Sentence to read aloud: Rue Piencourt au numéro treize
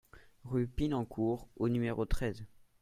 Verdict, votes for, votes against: rejected, 0, 2